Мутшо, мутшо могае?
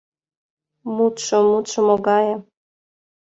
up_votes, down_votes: 2, 0